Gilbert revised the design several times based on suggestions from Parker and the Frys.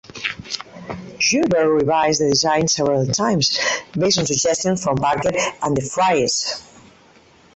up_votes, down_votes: 0, 4